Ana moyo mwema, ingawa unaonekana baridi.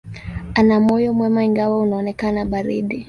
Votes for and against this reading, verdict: 7, 3, accepted